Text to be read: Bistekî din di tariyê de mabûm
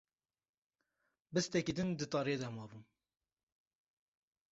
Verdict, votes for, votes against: accepted, 2, 0